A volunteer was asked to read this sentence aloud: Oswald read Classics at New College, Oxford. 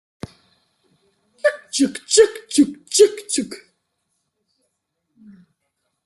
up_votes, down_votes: 0, 2